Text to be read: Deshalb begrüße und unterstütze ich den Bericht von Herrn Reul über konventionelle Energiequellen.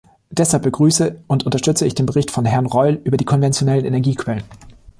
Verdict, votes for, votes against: rejected, 1, 2